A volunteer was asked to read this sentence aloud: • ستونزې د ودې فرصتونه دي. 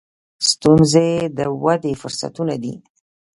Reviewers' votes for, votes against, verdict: 1, 2, rejected